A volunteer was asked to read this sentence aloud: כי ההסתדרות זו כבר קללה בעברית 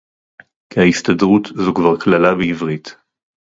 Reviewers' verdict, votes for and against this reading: accepted, 2, 0